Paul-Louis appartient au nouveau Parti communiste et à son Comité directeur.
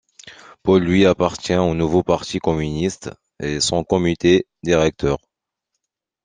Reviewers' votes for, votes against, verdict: 1, 2, rejected